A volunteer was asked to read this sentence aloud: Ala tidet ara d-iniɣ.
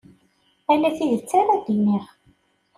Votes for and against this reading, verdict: 2, 0, accepted